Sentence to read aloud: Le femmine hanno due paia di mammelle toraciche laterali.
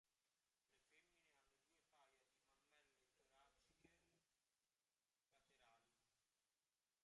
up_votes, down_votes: 0, 2